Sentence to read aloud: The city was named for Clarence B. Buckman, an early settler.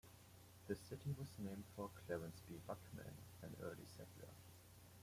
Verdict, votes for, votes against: rejected, 0, 2